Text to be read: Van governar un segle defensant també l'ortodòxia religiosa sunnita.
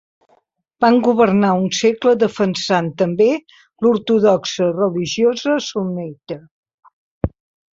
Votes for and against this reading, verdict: 1, 2, rejected